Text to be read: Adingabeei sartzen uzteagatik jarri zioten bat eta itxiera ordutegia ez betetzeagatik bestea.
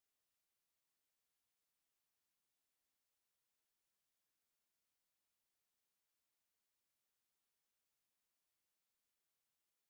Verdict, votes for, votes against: rejected, 0, 2